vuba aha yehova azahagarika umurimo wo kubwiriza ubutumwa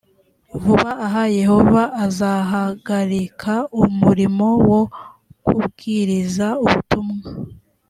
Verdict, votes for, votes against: accepted, 3, 0